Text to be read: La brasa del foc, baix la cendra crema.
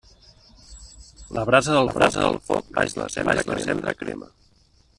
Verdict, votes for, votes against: rejected, 0, 2